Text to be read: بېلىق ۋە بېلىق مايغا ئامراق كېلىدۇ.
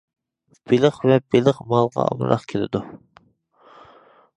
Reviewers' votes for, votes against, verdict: 1, 2, rejected